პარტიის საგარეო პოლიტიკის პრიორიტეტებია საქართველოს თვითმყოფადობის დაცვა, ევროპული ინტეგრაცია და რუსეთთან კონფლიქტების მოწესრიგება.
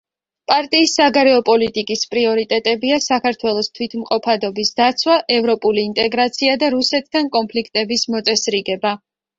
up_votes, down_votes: 2, 0